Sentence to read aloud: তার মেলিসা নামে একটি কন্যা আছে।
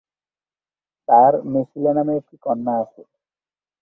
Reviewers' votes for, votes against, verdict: 0, 2, rejected